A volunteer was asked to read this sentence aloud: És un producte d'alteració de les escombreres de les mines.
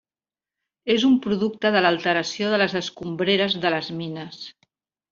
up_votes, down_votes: 0, 2